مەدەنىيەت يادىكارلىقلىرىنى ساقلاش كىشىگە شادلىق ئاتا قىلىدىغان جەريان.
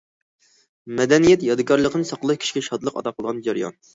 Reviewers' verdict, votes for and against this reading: rejected, 0, 2